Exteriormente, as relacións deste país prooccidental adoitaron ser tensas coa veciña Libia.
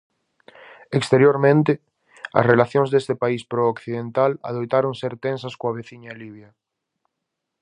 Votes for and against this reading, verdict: 4, 0, accepted